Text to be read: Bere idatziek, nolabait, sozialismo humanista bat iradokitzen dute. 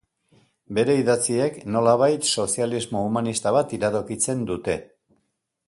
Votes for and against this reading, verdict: 2, 0, accepted